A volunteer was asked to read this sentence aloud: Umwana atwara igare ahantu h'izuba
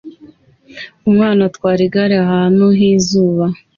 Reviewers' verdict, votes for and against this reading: accepted, 2, 0